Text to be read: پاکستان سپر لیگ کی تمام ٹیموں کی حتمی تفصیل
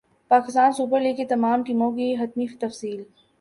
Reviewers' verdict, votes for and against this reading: accepted, 2, 0